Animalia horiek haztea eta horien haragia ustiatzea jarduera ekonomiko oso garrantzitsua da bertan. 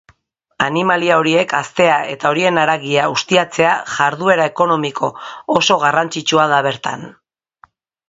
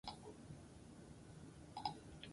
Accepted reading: first